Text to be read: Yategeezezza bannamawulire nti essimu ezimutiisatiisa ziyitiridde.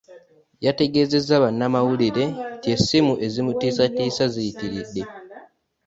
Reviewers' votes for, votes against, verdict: 1, 2, rejected